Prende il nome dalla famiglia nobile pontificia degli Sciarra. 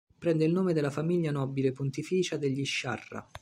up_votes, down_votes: 2, 0